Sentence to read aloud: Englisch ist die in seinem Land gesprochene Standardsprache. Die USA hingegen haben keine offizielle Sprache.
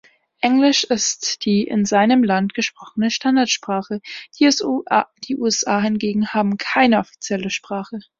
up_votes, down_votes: 1, 2